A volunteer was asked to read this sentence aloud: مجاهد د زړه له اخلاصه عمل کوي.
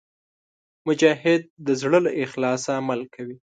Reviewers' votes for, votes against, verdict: 2, 0, accepted